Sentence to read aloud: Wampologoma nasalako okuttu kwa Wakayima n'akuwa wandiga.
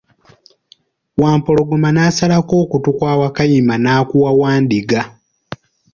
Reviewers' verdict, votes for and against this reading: accepted, 2, 1